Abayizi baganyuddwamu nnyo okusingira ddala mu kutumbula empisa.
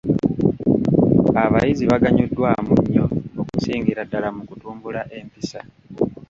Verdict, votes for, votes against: rejected, 1, 2